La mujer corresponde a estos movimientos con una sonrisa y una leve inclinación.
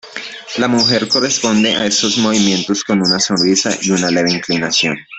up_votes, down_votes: 1, 2